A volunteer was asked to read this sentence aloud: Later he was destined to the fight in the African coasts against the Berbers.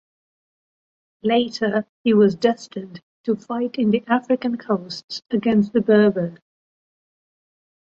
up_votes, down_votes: 0, 2